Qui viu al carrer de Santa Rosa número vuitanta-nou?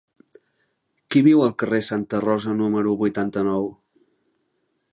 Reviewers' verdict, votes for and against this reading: rejected, 1, 2